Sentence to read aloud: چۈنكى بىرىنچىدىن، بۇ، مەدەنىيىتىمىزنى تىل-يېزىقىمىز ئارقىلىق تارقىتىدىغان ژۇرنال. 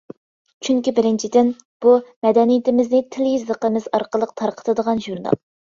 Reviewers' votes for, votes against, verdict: 2, 0, accepted